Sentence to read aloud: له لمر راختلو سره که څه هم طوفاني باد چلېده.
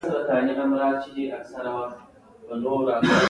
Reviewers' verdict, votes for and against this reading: accepted, 2, 0